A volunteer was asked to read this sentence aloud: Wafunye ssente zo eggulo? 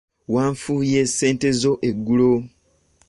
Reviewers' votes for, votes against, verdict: 1, 2, rejected